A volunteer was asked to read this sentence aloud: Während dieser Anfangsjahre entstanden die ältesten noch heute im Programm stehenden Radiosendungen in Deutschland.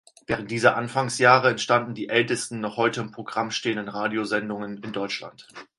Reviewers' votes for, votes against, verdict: 4, 0, accepted